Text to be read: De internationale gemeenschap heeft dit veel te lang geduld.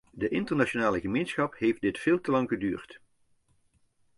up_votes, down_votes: 1, 2